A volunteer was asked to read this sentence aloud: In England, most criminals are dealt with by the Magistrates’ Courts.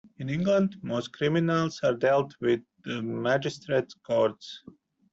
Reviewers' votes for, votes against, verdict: 1, 2, rejected